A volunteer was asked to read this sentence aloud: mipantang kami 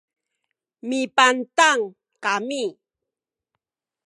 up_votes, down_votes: 2, 0